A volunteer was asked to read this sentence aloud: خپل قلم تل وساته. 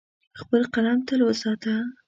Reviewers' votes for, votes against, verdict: 2, 0, accepted